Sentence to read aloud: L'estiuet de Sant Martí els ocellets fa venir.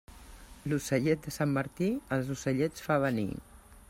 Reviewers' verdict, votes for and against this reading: rejected, 1, 2